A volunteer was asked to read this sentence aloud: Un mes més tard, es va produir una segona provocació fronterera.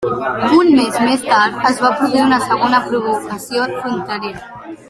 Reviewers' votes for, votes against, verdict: 0, 2, rejected